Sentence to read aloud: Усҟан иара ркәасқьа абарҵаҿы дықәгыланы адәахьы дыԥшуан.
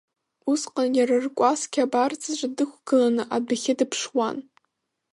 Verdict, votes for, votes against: rejected, 1, 2